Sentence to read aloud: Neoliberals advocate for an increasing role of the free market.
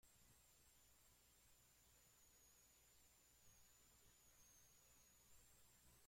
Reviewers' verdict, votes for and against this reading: rejected, 0, 2